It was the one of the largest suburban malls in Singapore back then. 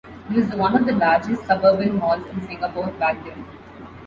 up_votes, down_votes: 1, 2